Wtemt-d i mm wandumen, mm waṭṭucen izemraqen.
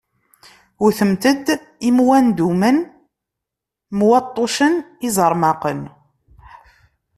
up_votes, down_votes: 0, 2